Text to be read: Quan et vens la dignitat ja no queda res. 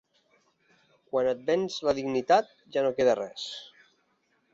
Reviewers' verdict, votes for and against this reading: accepted, 3, 0